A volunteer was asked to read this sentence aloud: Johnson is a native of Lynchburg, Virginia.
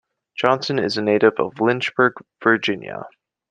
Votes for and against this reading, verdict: 2, 0, accepted